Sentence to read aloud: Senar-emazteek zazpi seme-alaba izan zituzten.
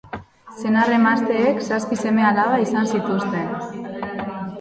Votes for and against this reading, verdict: 4, 1, accepted